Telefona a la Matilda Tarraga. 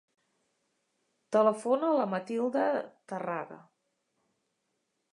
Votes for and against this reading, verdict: 2, 0, accepted